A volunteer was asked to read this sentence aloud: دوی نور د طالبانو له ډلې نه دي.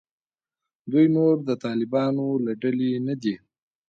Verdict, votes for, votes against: rejected, 1, 2